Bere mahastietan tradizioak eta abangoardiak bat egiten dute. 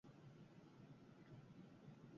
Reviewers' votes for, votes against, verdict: 0, 6, rejected